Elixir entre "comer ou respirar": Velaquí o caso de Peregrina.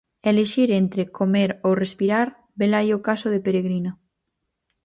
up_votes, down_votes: 0, 4